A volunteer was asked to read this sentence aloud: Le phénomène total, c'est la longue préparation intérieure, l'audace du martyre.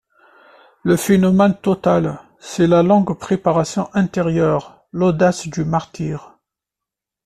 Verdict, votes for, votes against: accepted, 2, 0